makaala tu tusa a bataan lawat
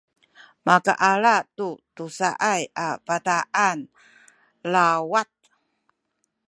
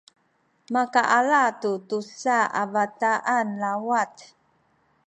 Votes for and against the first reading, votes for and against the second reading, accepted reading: 2, 0, 0, 2, first